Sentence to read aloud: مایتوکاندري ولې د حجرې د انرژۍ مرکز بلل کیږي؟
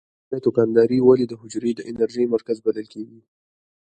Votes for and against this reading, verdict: 2, 1, accepted